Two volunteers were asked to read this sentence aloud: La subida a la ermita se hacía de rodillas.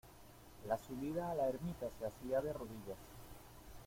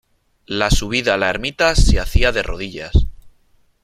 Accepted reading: second